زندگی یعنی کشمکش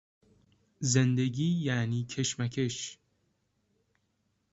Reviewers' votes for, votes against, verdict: 2, 0, accepted